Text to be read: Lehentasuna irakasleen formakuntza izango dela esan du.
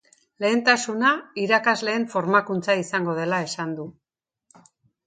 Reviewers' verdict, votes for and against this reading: accepted, 2, 0